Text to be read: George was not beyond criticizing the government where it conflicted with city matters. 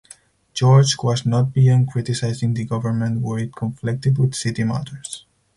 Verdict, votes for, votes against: accepted, 4, 0